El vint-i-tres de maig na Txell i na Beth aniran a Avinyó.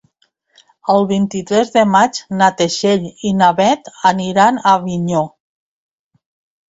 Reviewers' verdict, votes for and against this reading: rejected, 1, 2